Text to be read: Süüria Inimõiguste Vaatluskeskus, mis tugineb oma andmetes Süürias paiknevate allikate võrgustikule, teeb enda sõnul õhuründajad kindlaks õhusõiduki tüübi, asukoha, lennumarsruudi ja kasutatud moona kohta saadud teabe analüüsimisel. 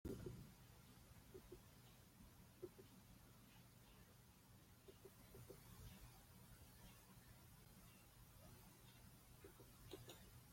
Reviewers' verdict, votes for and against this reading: rejected, 0, 2